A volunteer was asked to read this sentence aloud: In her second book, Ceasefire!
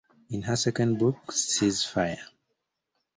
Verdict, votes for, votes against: accepted, 2, 0